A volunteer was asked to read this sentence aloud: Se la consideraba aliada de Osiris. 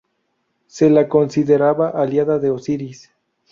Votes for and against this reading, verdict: 2, 0, accepted